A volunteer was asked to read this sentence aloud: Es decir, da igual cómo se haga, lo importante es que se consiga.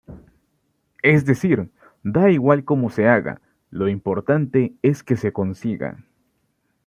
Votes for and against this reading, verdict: 2, 0, accepted